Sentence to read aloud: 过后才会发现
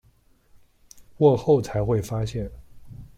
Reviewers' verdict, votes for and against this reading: rejected, 1, 2